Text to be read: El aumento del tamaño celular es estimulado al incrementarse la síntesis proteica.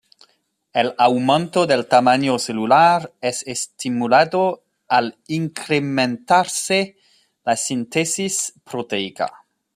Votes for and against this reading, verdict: 2, 0, accepted